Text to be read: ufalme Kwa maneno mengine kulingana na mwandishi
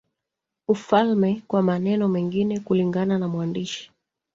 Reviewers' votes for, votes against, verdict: 0, 2, rejected